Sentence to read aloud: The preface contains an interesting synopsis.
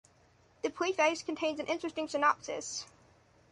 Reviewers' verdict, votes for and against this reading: accepted, 3, 0